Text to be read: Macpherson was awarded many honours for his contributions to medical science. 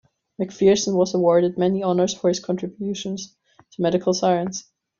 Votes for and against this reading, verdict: 2, 0, accepted